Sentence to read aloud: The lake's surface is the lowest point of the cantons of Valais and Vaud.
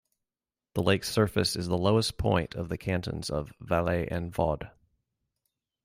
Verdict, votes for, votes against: rejected, 1, 2